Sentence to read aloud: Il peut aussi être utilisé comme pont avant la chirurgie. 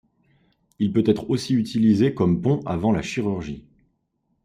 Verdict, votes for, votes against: rejected, 1, 2